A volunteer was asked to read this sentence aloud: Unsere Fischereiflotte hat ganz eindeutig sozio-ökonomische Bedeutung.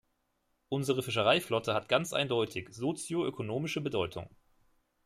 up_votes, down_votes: 2, 0